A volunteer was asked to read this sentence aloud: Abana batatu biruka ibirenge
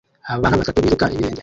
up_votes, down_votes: 0, 2